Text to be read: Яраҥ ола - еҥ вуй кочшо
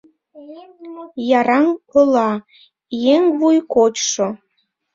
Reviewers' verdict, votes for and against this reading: accepted, 2, 1